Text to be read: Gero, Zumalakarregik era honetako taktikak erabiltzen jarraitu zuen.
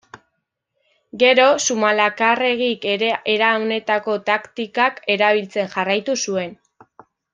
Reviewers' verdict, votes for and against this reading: rejected, 1, 2